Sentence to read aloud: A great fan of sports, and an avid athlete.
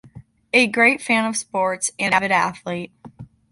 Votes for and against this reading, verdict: 2, 0, accepted